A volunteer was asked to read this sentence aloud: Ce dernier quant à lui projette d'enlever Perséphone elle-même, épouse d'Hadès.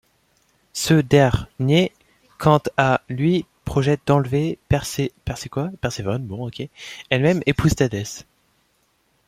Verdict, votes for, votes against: rejected, 1, 2